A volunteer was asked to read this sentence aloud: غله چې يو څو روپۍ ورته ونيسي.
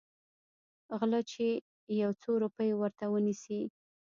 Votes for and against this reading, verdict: 2, 0, accepted